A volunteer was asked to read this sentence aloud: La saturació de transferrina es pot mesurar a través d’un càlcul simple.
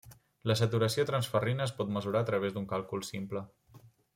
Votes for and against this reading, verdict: 1, 2, rejected